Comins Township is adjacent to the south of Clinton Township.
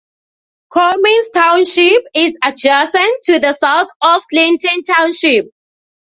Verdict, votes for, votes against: accepted, 2, 0